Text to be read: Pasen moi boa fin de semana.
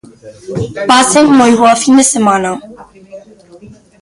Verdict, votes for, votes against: rejected, 0, 2